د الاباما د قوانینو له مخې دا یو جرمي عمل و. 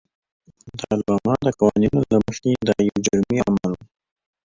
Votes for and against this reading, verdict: 0, 2, rejected